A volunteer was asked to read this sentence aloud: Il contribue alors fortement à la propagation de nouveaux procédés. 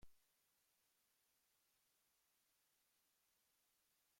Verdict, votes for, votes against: rejected, 0, 2